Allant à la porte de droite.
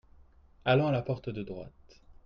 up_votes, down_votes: 2, 0